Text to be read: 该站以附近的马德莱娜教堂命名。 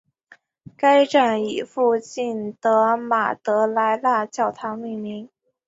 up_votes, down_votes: 2, 1